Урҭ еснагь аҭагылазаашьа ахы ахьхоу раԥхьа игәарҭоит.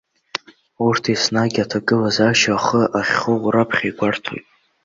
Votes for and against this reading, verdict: 1, 2, rejected